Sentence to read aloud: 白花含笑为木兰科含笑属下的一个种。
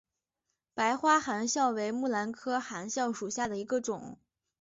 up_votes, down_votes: 3, 0